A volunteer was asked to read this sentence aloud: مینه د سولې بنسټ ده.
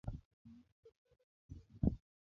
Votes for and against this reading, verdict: 1, 2, rejected